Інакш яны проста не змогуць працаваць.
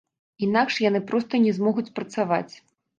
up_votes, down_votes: 2, 0